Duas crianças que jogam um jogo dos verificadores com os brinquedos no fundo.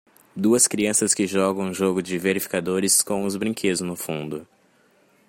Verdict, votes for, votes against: rejected, 1, 2